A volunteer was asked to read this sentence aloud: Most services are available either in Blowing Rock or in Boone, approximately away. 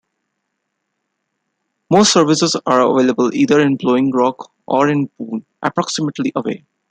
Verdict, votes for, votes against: accepted, 2, 0